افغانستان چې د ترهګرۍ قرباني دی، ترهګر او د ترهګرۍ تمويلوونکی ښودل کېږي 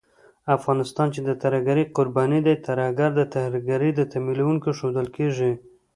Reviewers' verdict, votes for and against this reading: rejected, 1, 2